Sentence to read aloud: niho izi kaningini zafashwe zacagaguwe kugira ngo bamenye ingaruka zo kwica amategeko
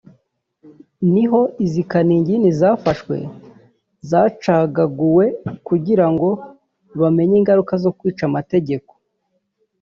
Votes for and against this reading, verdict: 1, 2, rejected